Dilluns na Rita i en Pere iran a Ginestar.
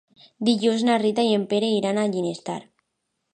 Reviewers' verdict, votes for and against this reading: accepted, 2, 0